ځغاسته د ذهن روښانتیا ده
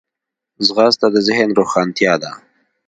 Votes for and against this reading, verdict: 2, 0, accepted